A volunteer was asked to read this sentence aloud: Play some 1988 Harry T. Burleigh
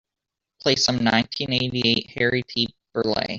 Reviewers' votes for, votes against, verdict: 0, 2, rejected